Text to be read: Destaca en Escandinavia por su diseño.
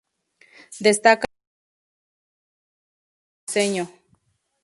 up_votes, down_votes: 0, 2